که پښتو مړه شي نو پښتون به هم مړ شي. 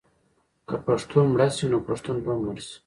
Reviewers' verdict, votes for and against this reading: accepted, 2, 0